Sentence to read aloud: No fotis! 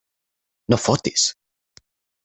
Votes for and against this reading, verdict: 6, 0, accepted